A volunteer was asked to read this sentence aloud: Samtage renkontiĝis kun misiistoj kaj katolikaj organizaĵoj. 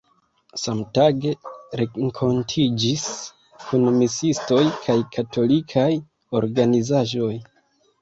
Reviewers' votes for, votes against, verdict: 0, 2, rejected